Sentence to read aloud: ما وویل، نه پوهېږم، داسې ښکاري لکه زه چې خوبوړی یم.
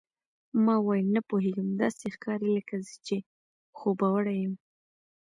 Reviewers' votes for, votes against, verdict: 0, 2, rejected